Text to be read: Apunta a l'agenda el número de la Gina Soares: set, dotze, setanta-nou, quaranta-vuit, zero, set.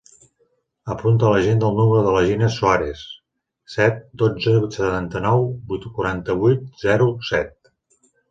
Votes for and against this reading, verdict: 0, 2, rejected